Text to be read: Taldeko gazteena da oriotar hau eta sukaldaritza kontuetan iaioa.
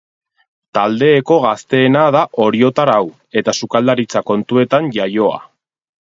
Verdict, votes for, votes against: rejected, 2, 4